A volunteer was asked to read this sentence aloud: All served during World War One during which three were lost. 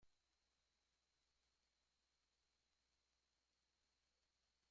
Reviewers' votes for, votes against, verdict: 0, 2, rejected